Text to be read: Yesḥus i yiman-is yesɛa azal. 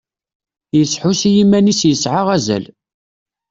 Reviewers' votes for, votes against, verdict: 2, 0, accepted